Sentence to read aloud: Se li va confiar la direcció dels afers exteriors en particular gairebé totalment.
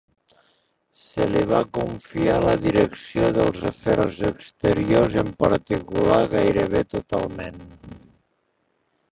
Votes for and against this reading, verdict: 0, 2, rejected